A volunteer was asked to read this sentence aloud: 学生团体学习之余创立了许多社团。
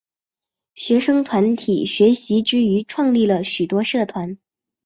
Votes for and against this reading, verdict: 3, 0, accepted